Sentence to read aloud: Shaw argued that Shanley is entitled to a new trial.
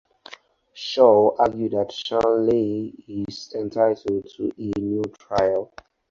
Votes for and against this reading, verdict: 2, 0, accepted